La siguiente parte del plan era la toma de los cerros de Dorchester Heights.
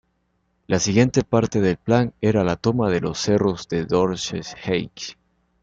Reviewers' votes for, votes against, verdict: 0, 2, rejected